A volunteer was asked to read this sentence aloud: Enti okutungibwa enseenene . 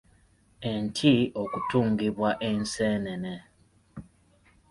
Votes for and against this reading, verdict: 0, 2, rejected